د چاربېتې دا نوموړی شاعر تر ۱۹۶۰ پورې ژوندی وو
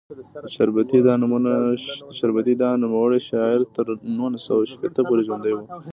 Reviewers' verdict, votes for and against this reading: rejected, 0, 2